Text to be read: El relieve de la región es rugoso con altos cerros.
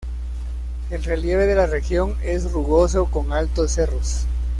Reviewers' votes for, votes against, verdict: 2, 0, accepted